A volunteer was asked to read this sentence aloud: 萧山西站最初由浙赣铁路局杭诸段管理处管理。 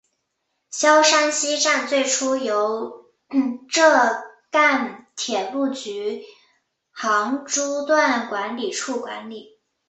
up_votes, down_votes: 5, 1